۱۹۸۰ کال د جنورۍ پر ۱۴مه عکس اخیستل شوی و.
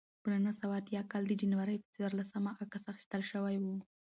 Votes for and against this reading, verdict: 0, 2, rejected